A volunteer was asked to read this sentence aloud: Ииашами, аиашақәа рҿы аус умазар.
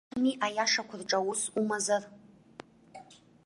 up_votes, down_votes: 0, 2